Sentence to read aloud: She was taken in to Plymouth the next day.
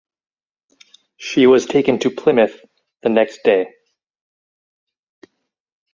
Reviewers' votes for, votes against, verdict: 2, 4, rejected